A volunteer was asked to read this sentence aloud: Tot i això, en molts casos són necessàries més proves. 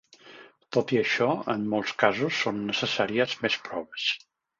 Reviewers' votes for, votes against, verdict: 3, 0, accepted